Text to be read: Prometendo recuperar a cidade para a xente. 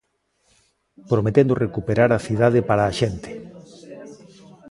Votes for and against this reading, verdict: 2, 0, accepted